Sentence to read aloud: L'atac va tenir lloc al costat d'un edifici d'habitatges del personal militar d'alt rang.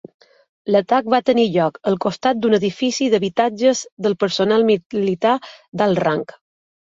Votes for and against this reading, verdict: 1, 2, rejected